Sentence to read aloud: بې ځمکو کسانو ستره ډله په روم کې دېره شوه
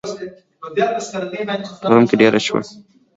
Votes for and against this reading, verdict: 0, 2, rejected